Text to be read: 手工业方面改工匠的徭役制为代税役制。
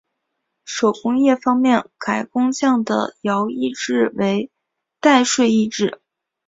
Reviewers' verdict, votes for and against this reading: accepted, 3, 0